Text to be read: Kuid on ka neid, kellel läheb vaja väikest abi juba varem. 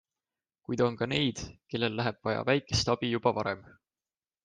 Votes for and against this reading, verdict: 2, 0, accepted